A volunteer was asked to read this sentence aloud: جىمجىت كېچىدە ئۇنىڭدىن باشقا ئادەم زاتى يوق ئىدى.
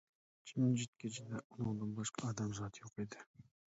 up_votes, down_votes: 1, 2